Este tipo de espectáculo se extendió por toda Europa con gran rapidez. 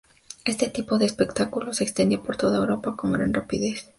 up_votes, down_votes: 2, 0